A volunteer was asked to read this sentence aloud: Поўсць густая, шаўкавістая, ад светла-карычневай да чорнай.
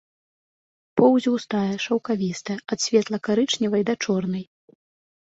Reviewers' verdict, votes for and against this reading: accepted, 2, 0